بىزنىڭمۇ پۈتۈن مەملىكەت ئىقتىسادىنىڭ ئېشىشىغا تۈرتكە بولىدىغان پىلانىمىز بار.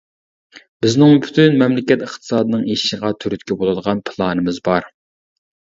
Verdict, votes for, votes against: rejected, 1, 2